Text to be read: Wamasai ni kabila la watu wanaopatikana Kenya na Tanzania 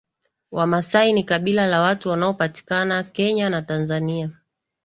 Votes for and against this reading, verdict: 2, 0, accepted